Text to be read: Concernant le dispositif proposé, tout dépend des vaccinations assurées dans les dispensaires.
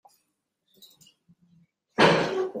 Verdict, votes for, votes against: rejected, 0, 2